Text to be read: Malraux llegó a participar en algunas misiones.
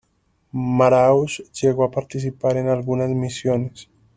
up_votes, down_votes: 1, 2